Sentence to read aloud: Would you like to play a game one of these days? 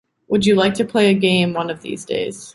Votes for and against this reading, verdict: 2, 0, accepted